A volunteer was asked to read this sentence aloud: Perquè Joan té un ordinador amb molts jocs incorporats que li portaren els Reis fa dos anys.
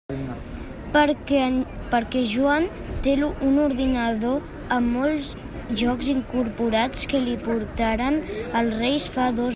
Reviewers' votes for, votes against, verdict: 0, 2, rejected